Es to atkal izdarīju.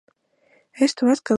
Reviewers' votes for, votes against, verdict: 0, 2, rejected